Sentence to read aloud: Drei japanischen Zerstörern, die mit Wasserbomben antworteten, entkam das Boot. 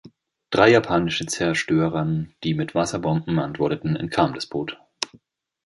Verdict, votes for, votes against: rejected, 0, 2